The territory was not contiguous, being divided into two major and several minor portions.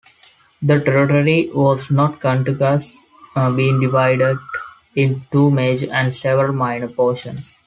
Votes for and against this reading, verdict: 2, 1, accepted